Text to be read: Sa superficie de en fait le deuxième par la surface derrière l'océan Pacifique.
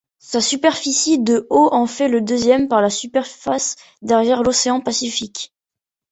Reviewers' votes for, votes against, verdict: 0, 2, rejected